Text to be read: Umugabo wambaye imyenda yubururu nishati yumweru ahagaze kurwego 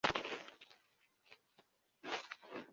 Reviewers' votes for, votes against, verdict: 0, 2, rejected